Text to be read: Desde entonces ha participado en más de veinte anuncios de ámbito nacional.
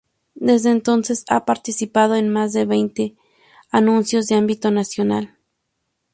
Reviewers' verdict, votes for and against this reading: accepted, 4, 0